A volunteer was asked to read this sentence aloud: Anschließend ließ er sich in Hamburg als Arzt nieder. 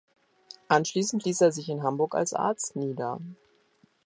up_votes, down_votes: 2, 0